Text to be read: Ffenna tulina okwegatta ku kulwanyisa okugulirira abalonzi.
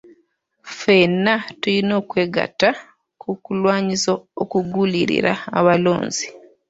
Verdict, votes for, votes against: rejected, 0, 2